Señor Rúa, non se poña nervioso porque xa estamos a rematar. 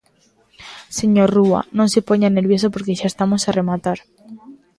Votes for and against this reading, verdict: 2, 0, accepted